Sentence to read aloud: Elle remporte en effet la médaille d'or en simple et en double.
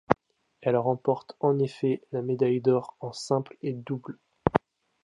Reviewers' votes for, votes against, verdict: 2, 0, accepted